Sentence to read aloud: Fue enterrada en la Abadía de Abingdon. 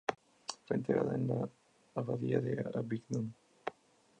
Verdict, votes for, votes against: rejected, 0, 2